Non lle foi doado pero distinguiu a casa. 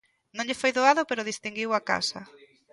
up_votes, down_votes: 2, 1